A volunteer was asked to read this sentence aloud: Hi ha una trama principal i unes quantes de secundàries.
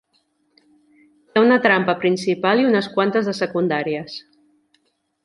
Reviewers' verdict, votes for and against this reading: accepted, 2, 0